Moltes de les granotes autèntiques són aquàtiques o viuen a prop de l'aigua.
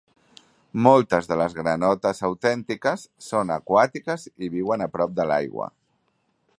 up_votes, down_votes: 0, 3